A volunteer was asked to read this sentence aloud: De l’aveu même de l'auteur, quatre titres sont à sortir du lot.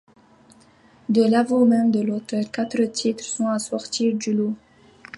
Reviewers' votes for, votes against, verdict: 1, 2, rejected